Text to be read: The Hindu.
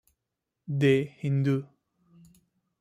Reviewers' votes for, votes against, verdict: 2, 0, accepted